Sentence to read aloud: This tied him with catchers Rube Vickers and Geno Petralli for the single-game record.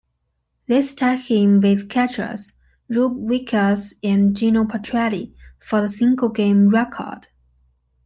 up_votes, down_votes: 2, 1